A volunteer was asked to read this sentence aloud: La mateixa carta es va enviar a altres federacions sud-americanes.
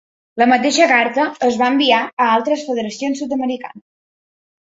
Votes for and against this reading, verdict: 0, 2, rejected